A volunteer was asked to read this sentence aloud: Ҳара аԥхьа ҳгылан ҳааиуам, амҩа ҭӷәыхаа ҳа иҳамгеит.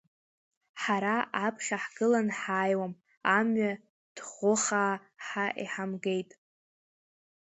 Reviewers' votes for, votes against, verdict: 2, 0, accepted